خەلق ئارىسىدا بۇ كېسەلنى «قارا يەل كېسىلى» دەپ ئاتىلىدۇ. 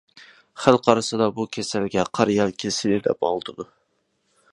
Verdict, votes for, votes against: rejected, 0, 2